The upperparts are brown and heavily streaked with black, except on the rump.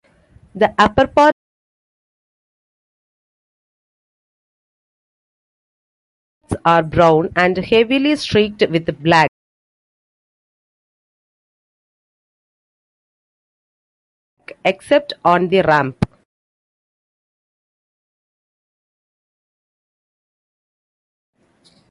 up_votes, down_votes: 0, 2